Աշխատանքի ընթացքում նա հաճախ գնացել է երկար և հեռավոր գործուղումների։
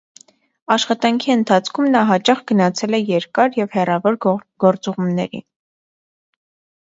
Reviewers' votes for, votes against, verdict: 1, 2, rejected